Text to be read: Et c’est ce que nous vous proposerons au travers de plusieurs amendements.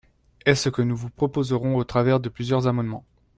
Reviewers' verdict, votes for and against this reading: rejected, 0, 2